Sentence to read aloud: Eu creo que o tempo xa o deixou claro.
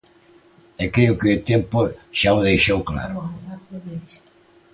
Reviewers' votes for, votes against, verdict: 1, 2, rejected